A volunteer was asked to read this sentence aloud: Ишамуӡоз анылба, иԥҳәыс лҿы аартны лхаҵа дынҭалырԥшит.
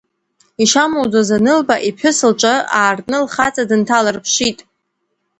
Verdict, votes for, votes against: accepted, 2, 0